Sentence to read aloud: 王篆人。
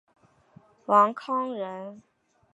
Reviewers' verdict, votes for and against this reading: rejected, 0, 2